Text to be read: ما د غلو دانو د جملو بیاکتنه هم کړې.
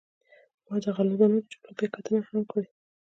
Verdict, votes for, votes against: rejected, 1, 2